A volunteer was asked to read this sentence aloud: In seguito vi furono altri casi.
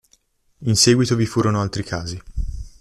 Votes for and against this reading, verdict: 2, 0, accepted